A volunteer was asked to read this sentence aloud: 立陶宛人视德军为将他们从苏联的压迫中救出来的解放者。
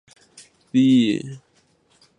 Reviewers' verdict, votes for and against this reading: rejected, 2, 4